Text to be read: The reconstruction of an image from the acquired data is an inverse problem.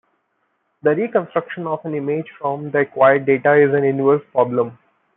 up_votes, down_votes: 2, 1